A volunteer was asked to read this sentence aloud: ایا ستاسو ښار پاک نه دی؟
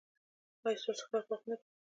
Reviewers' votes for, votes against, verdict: 1, 2, rejected